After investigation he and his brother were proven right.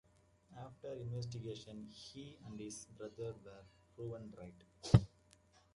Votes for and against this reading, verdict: 2, 0, accepted